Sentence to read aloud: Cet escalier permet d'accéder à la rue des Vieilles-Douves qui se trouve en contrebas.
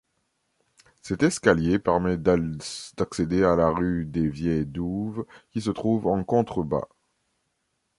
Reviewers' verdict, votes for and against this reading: rejected, 1, 2